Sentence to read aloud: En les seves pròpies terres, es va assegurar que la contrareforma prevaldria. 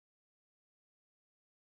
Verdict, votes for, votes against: rejected, 1, 2